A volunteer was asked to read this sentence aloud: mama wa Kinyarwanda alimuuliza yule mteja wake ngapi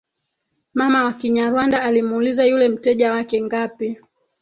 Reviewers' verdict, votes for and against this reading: accepted, 3, 2